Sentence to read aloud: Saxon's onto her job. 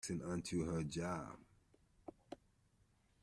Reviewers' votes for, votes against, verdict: 0, 2, rejected